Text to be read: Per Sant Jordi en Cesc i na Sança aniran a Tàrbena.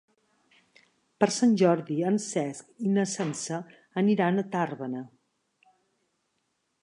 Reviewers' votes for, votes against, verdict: 2, 0, accepted